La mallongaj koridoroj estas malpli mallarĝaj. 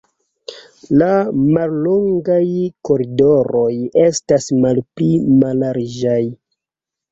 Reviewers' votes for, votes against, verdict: 2, 0, accepted